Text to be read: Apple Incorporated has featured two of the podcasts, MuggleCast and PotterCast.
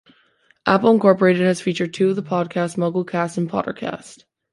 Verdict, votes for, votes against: accepted, 2, 0